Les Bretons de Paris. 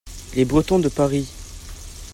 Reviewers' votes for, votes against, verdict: 2, 0, accepted